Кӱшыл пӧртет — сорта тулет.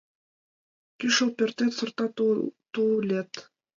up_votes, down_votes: 2, 0